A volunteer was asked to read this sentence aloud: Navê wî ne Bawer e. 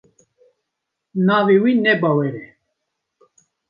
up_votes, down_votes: 2, 0